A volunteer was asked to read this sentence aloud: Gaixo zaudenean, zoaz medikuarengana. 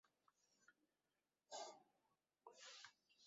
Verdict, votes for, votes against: rejected, 0, 2